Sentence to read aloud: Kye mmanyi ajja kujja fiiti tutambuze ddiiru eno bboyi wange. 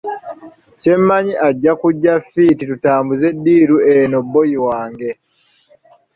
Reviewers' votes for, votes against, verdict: 2, 1, accepted